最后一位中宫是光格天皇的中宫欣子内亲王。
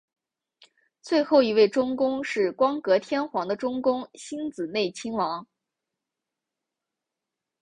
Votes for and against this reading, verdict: 2, 0, accepted